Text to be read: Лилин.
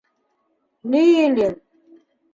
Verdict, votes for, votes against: rejected, 1, 2